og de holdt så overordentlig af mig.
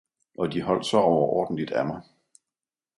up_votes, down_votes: 2, 0